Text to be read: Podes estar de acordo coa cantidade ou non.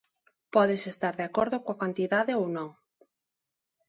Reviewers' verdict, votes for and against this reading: accepted, 2, 0